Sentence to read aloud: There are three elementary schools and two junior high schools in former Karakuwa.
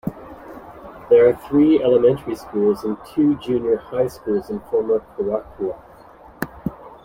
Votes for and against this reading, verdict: 0, 2, rejected